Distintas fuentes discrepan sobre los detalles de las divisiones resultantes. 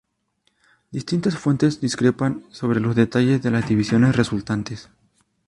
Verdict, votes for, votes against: accepted, 2, 0